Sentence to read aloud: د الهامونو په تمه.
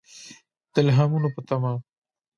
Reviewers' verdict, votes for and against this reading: rejected, 1, 2